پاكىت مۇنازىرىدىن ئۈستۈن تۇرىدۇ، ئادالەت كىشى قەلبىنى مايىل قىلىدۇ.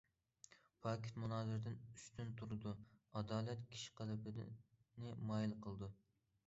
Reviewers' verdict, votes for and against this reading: rejected, 0, 2